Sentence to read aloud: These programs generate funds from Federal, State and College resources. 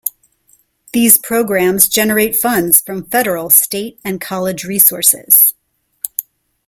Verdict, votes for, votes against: accepted, 2, 0